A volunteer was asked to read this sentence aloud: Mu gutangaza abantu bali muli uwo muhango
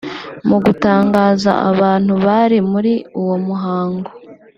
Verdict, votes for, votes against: rejected, 1, 2